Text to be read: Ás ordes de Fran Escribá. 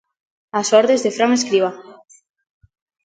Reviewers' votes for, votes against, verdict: 2, 0, accepted